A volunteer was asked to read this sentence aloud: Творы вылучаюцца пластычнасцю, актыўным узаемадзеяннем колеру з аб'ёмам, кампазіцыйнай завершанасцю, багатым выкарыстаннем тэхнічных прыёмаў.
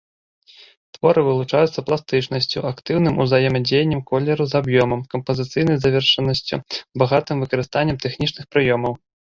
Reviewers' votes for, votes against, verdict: 3, 2, accepted